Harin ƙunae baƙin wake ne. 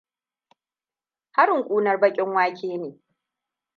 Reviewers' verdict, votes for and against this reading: accepted, 2, 0